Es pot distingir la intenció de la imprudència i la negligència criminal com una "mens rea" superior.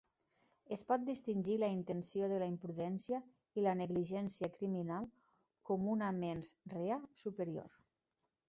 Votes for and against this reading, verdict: 1, 2, rejected